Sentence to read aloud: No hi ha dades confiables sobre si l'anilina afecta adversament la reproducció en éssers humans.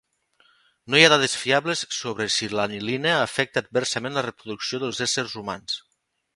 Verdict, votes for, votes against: rejected, 0, 2